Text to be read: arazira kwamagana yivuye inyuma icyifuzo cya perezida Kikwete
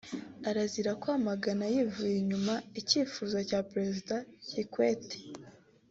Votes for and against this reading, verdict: 2, 0, accepted